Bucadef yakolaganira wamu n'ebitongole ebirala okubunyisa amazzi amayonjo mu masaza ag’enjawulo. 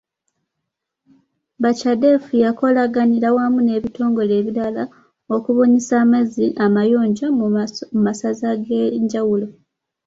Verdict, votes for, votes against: rejected, 1, 2